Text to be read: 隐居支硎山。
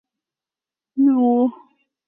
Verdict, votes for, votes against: rejected, 0, 2